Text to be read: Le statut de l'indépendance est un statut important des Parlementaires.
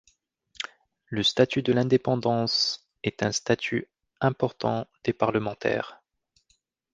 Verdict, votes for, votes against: accepted, 2, 0